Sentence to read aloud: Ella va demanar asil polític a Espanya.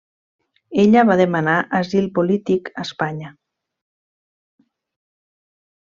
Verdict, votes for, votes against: accepted, 3, 0